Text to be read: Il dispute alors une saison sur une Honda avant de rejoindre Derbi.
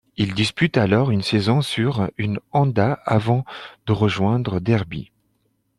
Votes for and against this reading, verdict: 1, 2, rejected